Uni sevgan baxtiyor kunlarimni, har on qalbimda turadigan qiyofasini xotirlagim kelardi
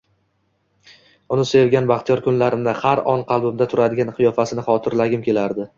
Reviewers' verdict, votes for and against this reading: accepted, 2, 0